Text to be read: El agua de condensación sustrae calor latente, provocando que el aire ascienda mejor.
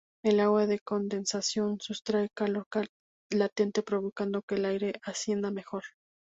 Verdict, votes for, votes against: accepted, 2, 0